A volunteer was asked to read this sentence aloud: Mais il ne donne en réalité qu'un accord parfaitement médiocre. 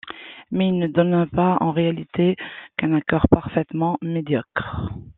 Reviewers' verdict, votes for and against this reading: rejected, 0, 2